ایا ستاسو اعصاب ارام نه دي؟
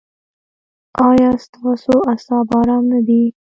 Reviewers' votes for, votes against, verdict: 1, 2, rejected